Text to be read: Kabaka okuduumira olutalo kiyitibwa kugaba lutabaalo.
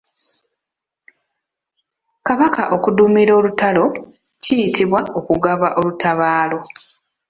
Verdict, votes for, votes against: rejected, 1, 2